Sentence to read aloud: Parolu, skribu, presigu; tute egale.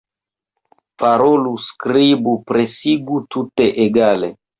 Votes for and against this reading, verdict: 2, 0, accepted